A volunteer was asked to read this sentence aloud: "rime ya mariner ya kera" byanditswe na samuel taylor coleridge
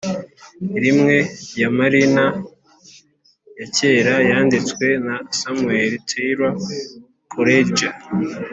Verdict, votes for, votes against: rejected, 0, 2